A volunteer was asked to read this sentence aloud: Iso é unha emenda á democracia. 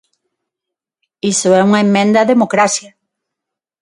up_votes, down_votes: 0, 6